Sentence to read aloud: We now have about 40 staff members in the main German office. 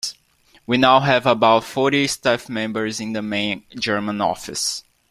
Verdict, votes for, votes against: rejected, 0, 2